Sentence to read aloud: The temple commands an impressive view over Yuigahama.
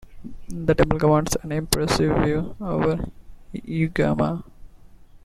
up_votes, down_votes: 1, 2